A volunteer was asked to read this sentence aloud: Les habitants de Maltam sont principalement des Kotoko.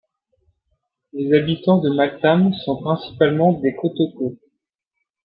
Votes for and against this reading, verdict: 1, 2, rejected